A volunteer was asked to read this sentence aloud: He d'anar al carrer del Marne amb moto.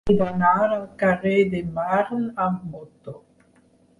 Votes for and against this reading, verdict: 4, 2, accepted